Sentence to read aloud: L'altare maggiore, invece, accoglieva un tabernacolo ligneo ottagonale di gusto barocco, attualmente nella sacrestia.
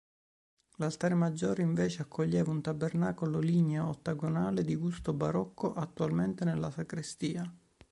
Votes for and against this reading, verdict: 2, 0, accepted